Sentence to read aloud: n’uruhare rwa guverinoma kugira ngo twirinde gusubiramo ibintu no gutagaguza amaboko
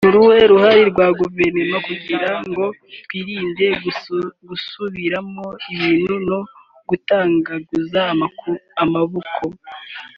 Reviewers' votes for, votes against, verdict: 0, 3, rejected